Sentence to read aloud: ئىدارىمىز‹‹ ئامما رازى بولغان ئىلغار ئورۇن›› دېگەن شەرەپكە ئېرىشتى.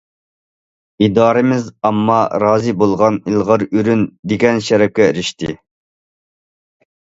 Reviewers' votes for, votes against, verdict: 0, 2, rejected